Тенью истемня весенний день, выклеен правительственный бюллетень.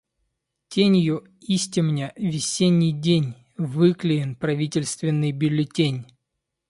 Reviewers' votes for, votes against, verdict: 2, 0, accepted